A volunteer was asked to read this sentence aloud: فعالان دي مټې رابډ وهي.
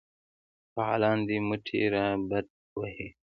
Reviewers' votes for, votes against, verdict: 1, 2, rejected